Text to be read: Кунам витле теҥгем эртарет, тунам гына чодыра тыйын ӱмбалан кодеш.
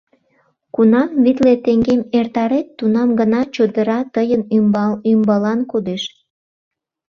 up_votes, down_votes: 0, 2